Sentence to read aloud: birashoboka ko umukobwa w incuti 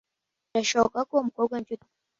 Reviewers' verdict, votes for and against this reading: rejected, 1, 2